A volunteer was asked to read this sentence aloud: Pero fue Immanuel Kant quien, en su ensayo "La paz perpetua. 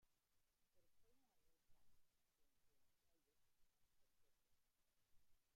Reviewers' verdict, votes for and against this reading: rejected, 0, 2